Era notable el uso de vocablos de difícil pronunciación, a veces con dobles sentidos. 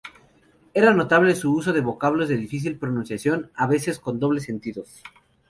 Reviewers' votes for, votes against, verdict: 2, 0, accepted